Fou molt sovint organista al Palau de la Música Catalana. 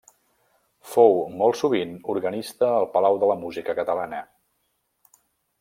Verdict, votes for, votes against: accepted, 3, 0